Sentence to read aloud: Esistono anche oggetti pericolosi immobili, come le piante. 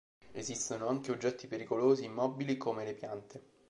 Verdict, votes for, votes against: accepted, 2, 0